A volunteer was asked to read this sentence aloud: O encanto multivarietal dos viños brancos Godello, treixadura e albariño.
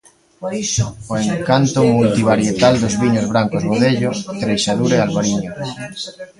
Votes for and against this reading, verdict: 0, 2, rejected